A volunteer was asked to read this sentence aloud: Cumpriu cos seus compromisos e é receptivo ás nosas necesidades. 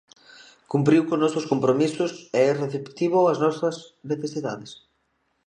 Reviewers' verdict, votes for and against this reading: rejected, 0, 2